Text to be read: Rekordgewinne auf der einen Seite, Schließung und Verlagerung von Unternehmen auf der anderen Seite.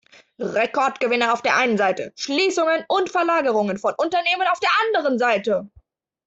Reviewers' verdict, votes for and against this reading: rejected, 0, 2